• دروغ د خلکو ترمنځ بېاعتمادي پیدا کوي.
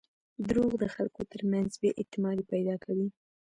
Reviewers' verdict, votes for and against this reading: rejected, 1, 2